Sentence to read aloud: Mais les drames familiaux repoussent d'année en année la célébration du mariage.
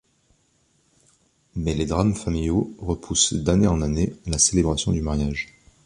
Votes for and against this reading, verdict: 3, 0, accepted